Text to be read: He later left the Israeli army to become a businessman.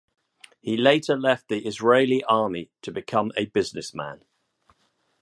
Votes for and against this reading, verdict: 2, 0, accepted